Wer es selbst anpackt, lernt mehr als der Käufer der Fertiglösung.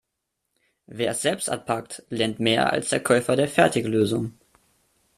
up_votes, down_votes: 2, 0